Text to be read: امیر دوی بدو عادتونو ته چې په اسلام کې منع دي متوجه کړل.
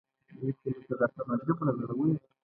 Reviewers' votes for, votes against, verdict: 0, 2, rejected